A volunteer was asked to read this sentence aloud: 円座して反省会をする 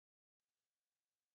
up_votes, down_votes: 0, 2